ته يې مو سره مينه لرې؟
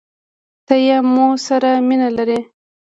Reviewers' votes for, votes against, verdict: 2, 1, accepted